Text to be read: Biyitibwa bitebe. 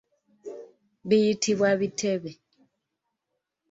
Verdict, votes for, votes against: accepted, 2, 0